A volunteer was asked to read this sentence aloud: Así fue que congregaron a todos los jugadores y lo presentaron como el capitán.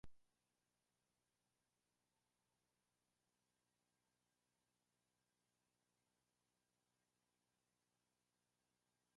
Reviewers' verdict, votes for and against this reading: rejected, 0, 2